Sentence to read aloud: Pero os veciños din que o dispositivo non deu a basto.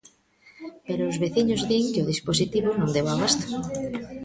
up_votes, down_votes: 0, 2